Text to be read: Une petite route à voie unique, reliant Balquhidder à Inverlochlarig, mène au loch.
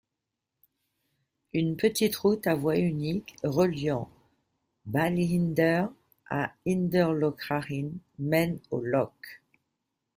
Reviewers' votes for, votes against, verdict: 0, 2, rejected